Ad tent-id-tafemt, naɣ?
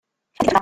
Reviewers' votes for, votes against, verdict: 0, 2, rejected